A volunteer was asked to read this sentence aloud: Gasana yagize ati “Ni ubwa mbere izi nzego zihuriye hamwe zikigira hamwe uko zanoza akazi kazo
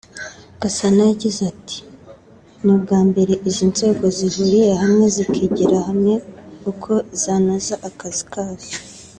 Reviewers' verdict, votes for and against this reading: accepted, 2, 0